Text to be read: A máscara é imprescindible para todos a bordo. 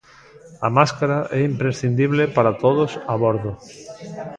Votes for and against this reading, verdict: 2, 0, accepted